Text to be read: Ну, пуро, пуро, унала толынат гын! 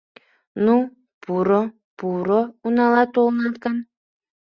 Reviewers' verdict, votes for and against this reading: accepted, 2, 0